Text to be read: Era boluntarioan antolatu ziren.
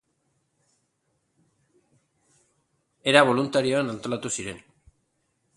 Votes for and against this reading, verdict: 2, 0, accepted